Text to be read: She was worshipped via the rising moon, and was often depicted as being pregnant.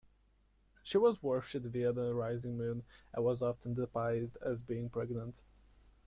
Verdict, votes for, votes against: rejected, 1, 2